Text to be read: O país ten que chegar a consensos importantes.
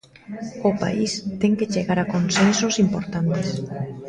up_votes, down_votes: 1, 2